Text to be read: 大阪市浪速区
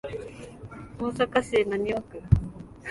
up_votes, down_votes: 2, 0